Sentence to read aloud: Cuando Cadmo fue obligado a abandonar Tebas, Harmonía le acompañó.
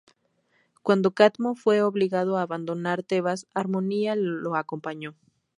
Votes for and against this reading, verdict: 0, 2, rejected